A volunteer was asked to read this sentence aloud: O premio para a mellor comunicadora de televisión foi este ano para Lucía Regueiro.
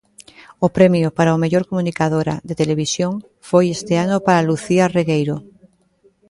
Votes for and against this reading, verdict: 0, 2, rejected